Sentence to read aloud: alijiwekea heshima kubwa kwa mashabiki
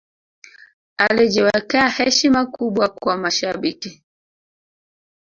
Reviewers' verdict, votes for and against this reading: rejected, 0, 2